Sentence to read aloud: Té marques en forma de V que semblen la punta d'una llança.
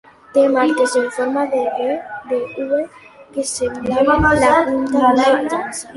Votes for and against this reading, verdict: 0, 4, rejected